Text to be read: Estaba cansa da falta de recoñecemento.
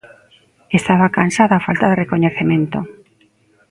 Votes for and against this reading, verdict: 2, 0, accepted